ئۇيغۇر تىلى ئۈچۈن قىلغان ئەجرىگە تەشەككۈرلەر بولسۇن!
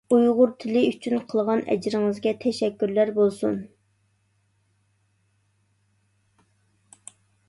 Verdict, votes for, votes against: rejected, 0, 2